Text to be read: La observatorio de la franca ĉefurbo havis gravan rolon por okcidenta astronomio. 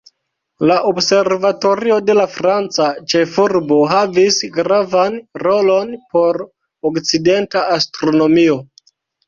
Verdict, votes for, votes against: accepted, 2, 0